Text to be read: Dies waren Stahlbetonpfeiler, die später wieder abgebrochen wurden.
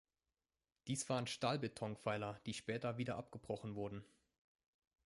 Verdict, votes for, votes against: accepted, 2, 1